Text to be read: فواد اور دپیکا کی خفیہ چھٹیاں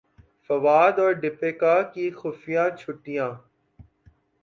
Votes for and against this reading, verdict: 2, 0, accepted